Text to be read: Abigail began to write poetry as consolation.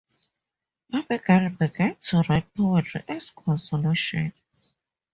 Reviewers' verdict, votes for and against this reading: accepted, 4, 2